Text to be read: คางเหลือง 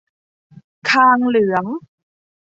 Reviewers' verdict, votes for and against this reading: accepted, 2, 0